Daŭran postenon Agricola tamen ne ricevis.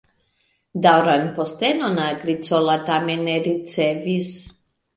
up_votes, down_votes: 2, 1